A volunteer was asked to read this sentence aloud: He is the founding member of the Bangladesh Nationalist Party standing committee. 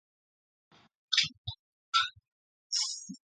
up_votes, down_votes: 0, 2